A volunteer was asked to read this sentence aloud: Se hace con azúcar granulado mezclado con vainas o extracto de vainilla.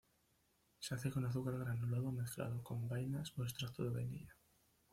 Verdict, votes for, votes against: rejected, 1, 2